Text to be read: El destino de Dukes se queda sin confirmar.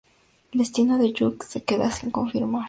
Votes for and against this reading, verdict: 0, 2, rejected